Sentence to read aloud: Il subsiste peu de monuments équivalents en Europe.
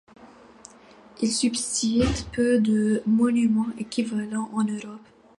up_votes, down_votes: 1, 2